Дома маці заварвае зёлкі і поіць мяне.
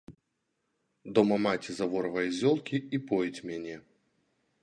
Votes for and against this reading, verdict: 0, 2, rejected